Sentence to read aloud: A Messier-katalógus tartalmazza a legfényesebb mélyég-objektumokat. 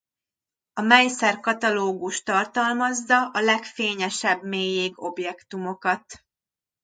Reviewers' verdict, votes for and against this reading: rejected, 1, 2